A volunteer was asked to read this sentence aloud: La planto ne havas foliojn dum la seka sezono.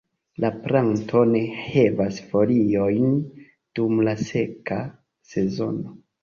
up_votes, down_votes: 0, 2